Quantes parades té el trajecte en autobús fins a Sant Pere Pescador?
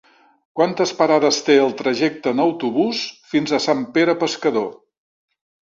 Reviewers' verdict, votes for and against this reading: accepted, 3, 0